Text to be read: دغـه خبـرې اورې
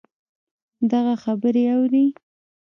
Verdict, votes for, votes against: rejected, 1, 2